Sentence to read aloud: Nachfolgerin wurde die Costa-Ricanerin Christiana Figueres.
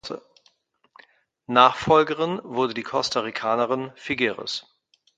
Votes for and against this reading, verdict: 0, 2, rejected